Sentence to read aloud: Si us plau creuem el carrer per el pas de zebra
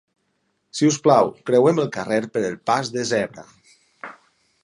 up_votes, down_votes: 4, 2